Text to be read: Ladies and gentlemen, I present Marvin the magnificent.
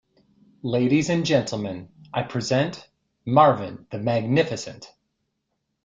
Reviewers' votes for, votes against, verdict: 2, 0, accepted